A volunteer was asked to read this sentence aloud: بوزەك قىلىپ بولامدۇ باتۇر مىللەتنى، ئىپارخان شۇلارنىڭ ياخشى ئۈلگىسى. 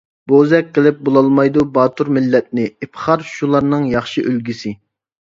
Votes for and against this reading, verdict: 0, 2, rejected